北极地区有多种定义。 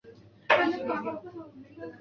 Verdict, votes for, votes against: rejected, 2, 4